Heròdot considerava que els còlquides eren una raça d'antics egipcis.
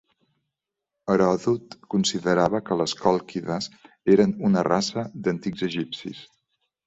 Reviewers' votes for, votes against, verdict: 1, 2, rejected